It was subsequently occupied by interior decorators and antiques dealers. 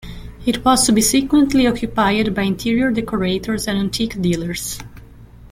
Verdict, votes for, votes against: rejected, 1, 2